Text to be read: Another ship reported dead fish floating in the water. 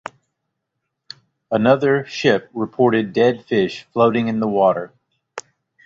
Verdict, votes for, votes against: accepted, 2, 0